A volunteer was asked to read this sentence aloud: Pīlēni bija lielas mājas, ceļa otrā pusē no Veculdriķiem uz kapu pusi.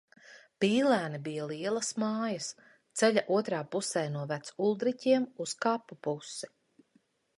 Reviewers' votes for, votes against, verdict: 2, 0, accepted